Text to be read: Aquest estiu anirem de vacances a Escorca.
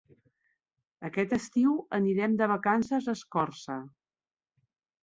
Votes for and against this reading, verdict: 1, 2, rejected